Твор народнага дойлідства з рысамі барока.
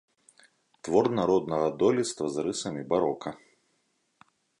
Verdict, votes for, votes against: accepted, 2, 0